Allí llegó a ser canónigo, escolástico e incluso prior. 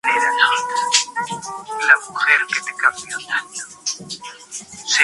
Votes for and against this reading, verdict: 0, 2, rejected